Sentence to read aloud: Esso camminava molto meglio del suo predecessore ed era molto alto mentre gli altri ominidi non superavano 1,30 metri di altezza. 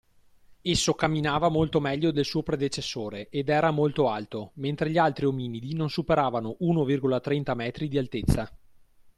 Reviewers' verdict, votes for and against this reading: rejected, 0, 2